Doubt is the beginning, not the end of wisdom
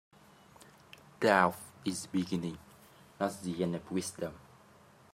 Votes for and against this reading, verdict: 1, 2, rejected